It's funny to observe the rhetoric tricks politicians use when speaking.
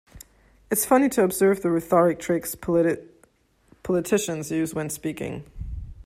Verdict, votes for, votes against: rejected, 0, 2